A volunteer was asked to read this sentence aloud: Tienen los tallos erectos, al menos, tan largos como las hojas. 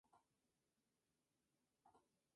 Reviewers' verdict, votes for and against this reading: rejected, 0, 2